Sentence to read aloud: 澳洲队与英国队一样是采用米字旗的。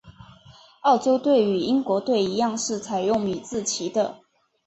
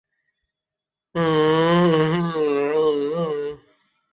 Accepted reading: first